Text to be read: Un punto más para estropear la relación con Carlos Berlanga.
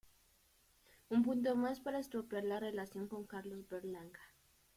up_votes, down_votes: 1, 2